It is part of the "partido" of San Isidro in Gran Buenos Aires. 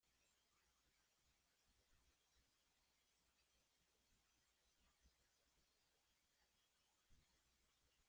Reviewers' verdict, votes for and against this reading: rejected, 0, 2